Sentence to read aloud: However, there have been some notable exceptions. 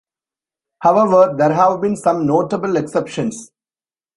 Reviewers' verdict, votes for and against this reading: accepted, 2, 0